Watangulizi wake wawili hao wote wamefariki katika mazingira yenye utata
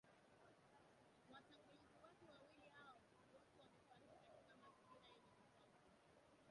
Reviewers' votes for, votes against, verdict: 0, 2, rejected